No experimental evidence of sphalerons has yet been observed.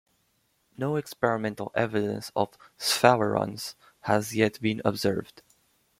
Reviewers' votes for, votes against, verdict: 2, 1, accepted